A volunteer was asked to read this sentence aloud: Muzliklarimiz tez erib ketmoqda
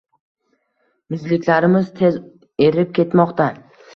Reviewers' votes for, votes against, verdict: 2, 0, accepted